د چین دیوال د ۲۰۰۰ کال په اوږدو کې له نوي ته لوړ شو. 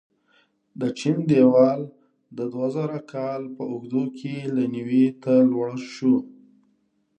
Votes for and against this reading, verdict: 0, 2, rejected